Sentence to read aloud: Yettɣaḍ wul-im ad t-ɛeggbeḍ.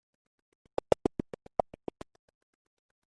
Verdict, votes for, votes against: rejected, 0, 2